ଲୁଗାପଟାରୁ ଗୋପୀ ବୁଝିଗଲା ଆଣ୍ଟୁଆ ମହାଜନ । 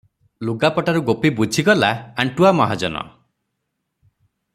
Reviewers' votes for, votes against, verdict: 3, 0, accepted